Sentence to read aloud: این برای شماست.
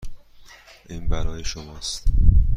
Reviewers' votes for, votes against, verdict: 1, 2, rejected